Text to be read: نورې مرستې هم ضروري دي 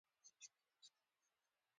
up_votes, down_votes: 1, 2